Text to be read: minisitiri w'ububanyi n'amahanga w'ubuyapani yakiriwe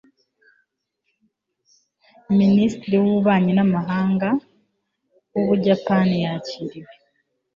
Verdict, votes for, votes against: accepted, 2, 0